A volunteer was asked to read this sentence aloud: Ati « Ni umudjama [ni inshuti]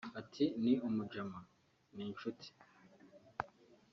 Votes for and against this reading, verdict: 1, 2, rejected